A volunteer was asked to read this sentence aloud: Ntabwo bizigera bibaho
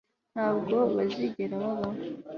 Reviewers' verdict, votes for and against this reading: accepted, 3, 1